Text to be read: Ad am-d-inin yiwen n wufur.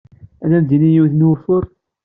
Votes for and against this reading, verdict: 2, 0, accepted